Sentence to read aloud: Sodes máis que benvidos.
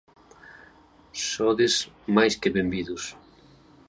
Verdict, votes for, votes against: accepted, 2, 0